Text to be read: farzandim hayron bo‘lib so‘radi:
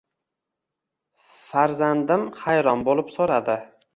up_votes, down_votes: 1, 2